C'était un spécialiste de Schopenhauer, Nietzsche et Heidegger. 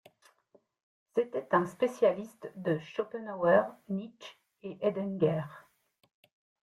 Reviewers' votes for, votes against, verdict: 1, 2, rejected